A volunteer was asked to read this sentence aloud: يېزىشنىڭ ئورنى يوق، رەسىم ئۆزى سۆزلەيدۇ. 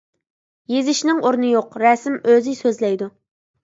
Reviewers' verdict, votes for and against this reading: accepted, 2, 0